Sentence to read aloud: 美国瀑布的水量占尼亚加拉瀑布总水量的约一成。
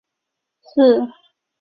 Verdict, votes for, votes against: rejected, 0, 3